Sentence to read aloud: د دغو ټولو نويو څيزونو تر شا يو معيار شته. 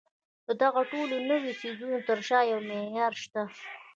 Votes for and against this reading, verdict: 1, 2, rejected